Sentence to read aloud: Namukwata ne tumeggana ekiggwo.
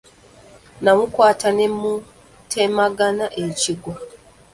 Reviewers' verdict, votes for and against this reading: rejected, 0, 2